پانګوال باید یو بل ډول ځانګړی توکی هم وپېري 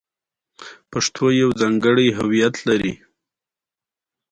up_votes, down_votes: 2, 0